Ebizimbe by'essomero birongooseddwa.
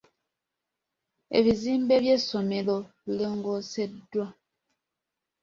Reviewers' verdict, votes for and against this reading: accepted, 2, 0